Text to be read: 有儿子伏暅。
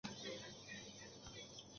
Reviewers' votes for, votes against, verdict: 0, 2, rejected